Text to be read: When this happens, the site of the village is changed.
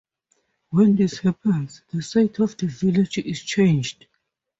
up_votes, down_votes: 2, 0